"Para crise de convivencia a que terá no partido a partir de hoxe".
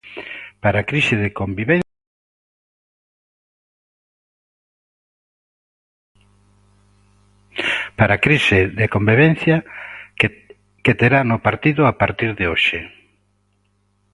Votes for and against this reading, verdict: 0, 2, rejected